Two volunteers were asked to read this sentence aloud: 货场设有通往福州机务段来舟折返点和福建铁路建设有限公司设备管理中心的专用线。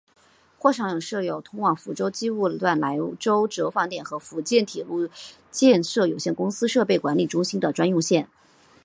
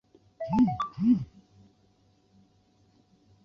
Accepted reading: first